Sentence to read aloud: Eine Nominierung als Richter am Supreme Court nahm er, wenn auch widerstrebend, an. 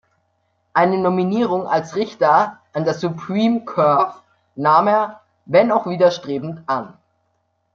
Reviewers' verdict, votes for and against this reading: rejected, 0, 2